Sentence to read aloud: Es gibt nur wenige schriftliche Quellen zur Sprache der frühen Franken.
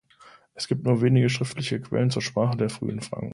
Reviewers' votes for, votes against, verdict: 1, 2, rejected